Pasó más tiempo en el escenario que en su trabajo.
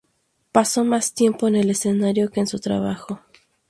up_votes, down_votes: 2, 2